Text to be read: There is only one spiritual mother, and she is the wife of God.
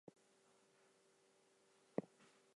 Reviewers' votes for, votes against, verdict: 0, 4, rejected